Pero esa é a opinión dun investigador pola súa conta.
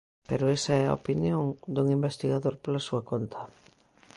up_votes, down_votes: 2, 0